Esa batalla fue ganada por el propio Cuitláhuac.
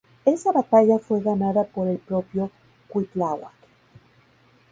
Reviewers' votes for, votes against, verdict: 2, 2, rejected